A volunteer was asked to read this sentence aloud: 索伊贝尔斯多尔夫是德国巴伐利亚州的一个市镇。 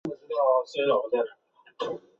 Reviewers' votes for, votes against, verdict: 2, 0, accepted